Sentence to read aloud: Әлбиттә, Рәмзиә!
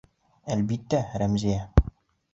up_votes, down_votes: 2, 0